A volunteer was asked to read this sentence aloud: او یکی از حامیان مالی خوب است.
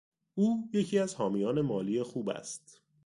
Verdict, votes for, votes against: accepted, 2, 0